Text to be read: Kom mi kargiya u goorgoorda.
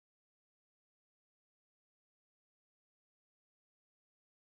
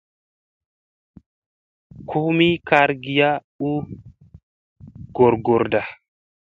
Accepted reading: second